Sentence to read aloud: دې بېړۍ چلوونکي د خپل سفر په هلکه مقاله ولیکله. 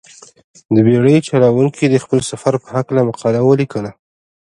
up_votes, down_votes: 2, 0